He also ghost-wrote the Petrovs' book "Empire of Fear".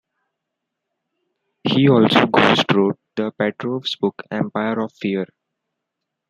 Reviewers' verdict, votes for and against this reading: rejected, 1, 2